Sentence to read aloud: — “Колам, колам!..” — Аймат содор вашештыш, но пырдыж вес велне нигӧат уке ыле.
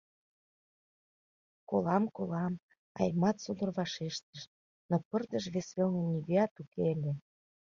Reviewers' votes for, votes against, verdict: 2, 0, accepted